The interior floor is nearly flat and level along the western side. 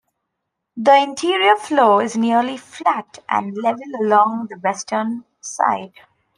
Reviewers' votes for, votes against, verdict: 1, 2, rejected